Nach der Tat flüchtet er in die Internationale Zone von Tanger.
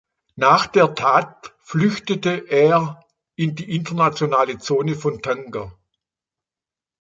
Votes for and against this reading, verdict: 1, 2, rejected